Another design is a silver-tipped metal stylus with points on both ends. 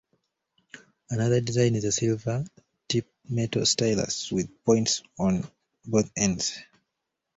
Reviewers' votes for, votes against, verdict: 2, 1, accepted